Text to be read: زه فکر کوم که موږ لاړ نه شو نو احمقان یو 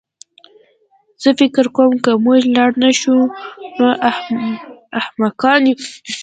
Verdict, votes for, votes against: rejected, 0, 2